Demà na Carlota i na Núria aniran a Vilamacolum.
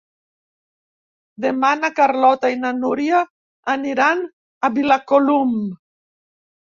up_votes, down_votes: 1, 2